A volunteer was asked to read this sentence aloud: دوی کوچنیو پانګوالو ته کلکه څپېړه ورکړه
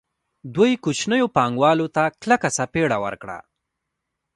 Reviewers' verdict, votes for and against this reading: rejected, 0, 2